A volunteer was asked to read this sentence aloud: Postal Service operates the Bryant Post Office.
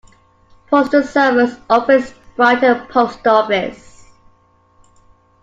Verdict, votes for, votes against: rejected, 1, 2